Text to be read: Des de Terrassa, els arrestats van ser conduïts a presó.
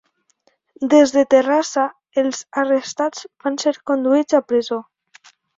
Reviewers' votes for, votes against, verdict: 3, 1, accepted